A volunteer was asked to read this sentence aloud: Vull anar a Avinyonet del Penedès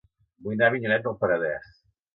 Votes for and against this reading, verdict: 1, 2, rejected